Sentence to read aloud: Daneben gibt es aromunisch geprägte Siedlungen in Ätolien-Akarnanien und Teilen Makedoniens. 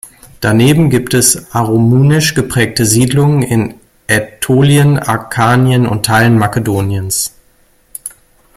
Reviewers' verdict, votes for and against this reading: rejected, 1, 2